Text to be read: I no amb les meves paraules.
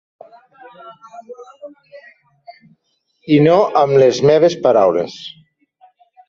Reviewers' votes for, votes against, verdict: 2, 1, accepted